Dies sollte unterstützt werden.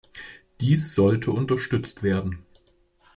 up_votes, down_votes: 2, 0